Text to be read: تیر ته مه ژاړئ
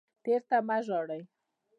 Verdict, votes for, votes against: rejected, 1, 2